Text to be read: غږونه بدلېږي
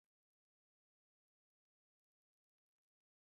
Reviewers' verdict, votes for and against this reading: rejected, 0, 8